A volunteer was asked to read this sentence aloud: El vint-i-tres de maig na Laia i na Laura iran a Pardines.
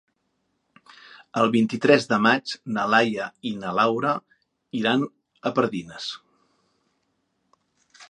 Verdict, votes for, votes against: accepted, 3, 0